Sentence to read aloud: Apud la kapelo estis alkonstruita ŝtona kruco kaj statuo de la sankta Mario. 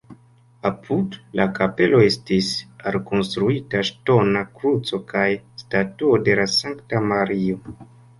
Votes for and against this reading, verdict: 2, 0, accepted